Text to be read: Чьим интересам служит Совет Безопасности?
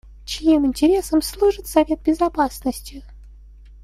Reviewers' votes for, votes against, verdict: 1, 2, rejected